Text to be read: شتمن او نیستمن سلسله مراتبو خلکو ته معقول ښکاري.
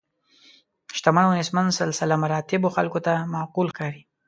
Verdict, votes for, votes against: accepted, 2, 0